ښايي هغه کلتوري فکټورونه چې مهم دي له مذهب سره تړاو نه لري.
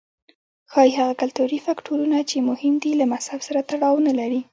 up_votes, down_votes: 0, 2